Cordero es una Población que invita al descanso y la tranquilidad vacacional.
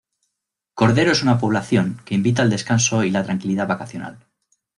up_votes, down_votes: 2, 0